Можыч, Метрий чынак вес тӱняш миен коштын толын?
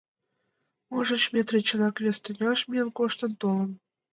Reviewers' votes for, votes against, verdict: 2, 0, accepted